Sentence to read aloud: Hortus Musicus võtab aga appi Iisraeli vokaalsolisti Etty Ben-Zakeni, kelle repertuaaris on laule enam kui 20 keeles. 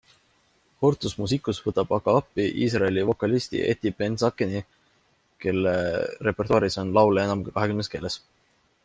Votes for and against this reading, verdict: 0, 2, rejected